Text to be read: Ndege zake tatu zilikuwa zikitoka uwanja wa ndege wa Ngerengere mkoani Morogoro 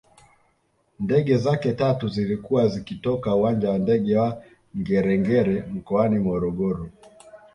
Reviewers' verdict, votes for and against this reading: accepted, 2, 0